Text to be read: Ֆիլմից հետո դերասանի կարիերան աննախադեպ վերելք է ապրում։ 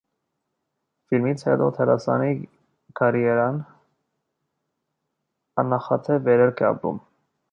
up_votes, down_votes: 1, 2